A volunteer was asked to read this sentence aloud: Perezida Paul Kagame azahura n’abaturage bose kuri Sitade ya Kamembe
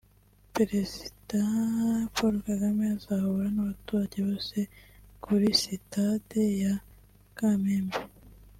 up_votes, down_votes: 3, 1